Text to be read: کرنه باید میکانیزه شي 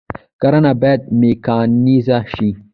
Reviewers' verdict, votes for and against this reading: accepted, 2, 1